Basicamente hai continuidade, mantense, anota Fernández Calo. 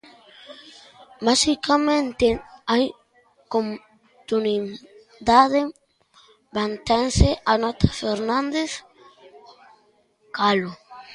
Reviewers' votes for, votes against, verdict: 0, 2, rejected